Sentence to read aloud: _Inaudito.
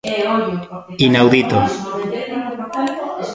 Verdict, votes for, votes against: rejected, 1, 2